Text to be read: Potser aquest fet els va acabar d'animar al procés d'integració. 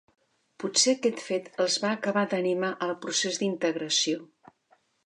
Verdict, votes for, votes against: accepted, 2, 0